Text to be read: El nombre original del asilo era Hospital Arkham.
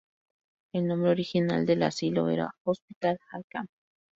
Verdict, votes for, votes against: rejected, 0, 2